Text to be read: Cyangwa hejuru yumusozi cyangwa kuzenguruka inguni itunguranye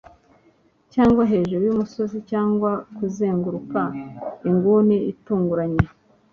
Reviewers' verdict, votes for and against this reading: accepted, 2, 0